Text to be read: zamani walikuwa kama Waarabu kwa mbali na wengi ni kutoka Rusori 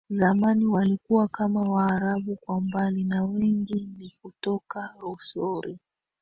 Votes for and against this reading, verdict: 0, 2, rejected